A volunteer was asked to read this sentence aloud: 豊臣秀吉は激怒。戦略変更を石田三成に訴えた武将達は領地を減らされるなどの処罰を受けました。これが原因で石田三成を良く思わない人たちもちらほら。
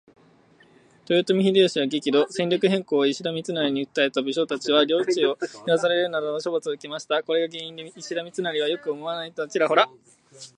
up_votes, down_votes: 2, 0